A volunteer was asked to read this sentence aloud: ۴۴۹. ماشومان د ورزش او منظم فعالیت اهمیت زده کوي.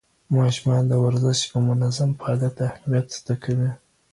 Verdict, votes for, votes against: rejected, 0, 2